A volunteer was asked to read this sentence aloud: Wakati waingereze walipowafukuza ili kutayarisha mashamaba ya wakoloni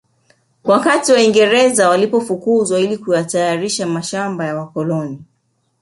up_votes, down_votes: 0, 2